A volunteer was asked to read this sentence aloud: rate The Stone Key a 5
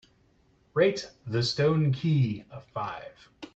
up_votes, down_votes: 0, 2